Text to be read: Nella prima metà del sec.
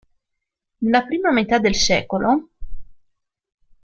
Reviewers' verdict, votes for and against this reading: rejected, 1, 2